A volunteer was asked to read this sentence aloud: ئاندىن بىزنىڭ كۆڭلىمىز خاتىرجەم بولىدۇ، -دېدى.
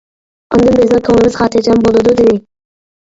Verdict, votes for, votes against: rejected, 0, 2